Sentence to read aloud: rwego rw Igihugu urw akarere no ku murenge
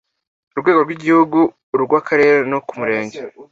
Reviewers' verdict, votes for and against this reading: accepted, 2, 0